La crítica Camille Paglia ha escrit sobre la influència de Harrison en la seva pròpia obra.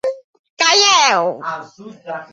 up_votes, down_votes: 0, 2